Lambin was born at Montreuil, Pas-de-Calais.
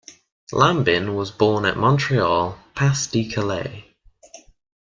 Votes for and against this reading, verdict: 3, 4, rejected